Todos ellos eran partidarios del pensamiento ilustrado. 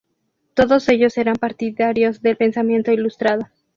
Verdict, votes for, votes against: accepted, 2, 0